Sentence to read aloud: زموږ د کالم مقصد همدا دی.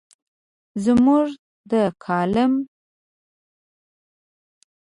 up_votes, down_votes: 1, 2